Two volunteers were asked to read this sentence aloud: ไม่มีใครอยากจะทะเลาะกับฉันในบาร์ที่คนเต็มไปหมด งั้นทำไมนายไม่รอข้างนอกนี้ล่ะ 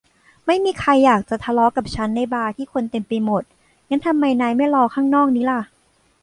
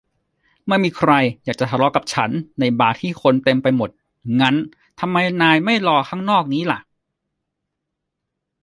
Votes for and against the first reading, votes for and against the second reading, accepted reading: 0, 2, 2, 0, second